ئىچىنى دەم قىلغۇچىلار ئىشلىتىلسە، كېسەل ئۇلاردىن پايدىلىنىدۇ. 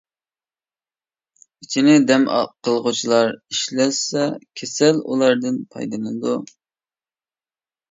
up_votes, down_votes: 0, 2